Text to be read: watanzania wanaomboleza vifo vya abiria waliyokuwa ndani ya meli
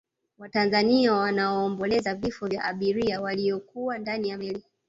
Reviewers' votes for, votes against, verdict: 1, 2, rejected